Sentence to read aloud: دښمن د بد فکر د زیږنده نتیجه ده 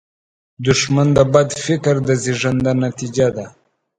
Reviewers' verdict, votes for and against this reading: accepted, 2, 0